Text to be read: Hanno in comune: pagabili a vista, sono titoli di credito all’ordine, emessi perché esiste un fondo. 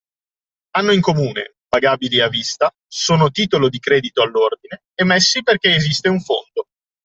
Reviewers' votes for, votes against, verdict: 0, 2, rejected